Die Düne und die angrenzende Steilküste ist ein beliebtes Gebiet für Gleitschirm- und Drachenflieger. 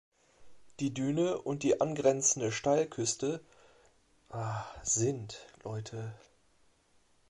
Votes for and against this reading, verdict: 0, 2, rejected